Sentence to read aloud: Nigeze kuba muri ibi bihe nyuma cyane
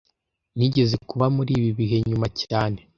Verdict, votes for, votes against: accepted, 2, 0